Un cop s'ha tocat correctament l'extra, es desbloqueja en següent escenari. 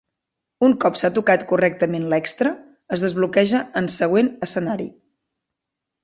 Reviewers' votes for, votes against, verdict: 2, 0, accepted